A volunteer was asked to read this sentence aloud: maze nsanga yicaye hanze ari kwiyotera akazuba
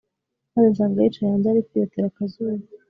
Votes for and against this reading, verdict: 3, 0, accepted